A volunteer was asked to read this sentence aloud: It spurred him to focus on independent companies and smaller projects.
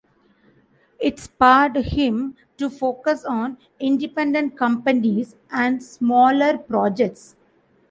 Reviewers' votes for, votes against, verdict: 2, 0, accepted